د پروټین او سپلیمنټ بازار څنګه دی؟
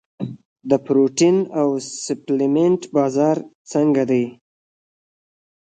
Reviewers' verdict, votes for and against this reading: accepted, 2, 1